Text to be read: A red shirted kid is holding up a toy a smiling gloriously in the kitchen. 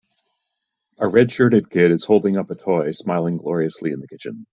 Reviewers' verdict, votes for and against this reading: rejected, 1, 2